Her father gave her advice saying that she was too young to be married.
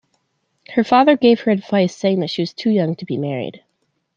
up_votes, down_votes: 2, 0